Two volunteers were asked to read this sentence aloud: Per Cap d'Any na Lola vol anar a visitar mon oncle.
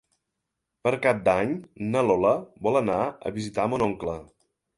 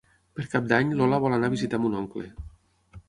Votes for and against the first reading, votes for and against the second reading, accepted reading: 3, 0, 3, 6, first